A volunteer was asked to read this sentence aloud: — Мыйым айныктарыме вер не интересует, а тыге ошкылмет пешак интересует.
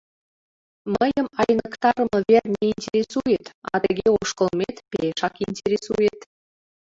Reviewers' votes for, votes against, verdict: 1, 2, rejected